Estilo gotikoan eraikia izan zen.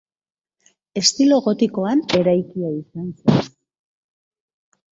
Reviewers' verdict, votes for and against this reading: rejected, 0, 3